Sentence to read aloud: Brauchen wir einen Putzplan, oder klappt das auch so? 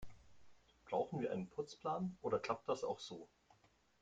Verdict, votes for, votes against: accepted, 2, 1